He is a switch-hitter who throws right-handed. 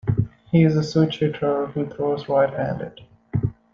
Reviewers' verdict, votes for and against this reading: accepted, 2, 1